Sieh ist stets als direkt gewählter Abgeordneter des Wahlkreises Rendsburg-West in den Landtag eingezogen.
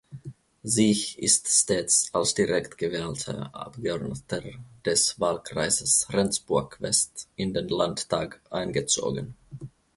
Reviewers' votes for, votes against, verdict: 1, 2, rejected